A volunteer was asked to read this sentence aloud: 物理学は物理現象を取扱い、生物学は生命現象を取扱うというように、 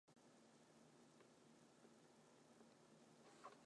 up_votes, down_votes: 0, 2